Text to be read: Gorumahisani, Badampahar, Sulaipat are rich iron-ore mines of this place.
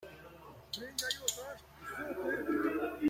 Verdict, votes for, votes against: rejected, 0, 2